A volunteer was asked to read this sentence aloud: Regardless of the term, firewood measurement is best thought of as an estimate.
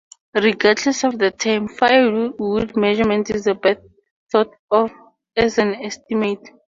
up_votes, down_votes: 0, 4